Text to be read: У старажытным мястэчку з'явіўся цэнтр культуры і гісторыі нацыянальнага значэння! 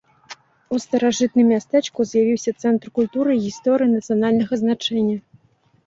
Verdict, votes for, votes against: accepted, 2, 0